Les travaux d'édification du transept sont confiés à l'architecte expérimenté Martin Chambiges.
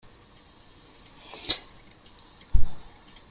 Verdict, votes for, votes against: rejected, 0, 2